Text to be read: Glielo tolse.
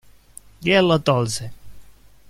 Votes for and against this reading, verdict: 2, 0, accepted